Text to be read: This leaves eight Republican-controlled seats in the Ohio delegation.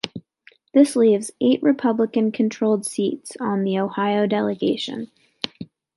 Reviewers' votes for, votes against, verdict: 2, 0, accepted